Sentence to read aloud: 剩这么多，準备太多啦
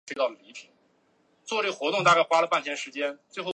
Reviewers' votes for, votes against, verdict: 0, 2, rejected